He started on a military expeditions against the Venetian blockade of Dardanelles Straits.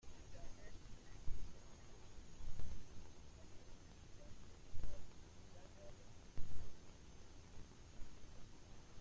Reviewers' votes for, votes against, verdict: 0, 2, rejected